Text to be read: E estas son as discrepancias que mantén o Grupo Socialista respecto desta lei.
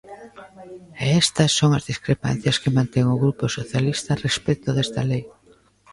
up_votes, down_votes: 0, 2